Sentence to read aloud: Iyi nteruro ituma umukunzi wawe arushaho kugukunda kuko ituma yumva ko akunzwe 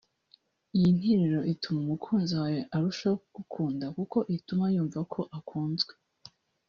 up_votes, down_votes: 0, 2